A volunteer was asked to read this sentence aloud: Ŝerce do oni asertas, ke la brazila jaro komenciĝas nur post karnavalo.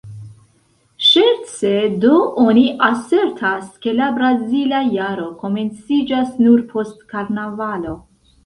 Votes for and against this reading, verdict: 3, 0, accepted